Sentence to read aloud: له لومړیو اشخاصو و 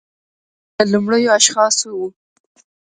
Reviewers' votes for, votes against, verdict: 1, 2, rejected